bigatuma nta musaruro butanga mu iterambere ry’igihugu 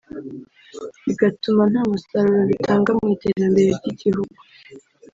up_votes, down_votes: 1, 2